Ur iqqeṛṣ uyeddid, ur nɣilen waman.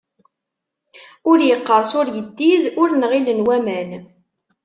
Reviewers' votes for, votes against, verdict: 2, 1, accepted